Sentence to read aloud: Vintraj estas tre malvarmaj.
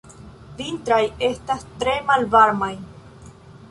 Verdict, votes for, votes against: rejected, 0, 2